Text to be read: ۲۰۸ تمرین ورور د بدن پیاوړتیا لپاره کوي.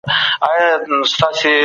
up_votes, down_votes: 0, 2